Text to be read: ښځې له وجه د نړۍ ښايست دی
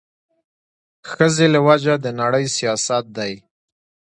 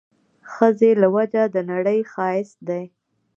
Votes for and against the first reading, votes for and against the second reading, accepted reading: 2, 0, 1, 2, first